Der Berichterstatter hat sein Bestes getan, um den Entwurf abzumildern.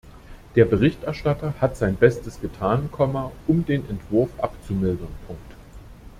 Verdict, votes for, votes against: rejected, 0, 2